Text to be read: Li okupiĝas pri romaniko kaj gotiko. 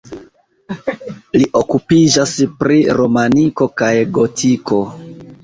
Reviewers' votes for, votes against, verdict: 0, 2, rejected